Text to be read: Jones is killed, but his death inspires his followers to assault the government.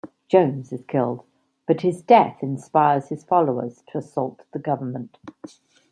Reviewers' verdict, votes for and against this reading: accepted, 2, 0